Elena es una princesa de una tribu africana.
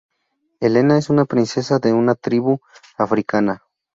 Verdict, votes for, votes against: accepted, 4, 0